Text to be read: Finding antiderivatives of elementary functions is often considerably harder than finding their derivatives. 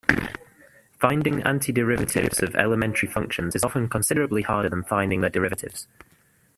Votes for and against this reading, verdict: 2, 1, accepted